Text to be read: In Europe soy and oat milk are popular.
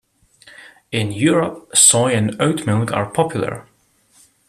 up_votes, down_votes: 1, 2